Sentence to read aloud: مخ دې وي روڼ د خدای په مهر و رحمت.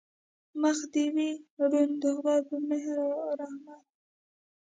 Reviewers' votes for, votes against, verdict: 1, 2, rejected